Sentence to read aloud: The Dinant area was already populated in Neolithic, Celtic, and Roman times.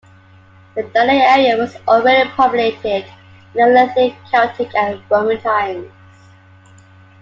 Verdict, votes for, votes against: accepted, 2, 1